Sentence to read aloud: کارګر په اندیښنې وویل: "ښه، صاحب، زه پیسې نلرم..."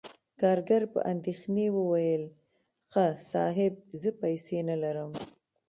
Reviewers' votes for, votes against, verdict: 2, 1, accepted